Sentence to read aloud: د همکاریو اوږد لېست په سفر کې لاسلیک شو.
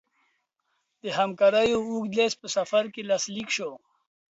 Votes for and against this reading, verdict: 2, 0, accepted